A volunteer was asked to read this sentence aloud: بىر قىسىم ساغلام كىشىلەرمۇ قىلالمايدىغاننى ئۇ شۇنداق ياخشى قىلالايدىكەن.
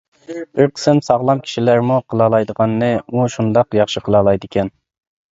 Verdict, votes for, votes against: rejected, 1, 2